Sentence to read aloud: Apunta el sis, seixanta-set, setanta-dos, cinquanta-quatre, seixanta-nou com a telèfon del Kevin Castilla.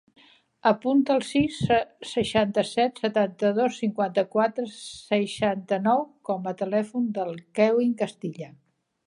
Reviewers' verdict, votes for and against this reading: rejected, 1, 2